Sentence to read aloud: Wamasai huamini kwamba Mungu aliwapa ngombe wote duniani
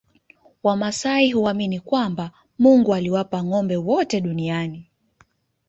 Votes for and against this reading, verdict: 1, 2, rejected